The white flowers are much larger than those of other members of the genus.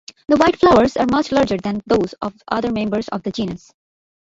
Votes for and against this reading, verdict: 2, 1, accepted